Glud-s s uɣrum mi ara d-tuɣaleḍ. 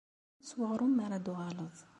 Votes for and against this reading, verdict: 1, 2, rejected